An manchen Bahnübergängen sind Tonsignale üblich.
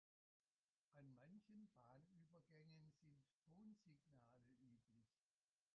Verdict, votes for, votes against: rejected, 0, 2